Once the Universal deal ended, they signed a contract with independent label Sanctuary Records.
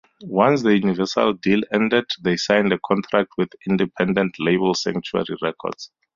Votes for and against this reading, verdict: 2, 2, rejected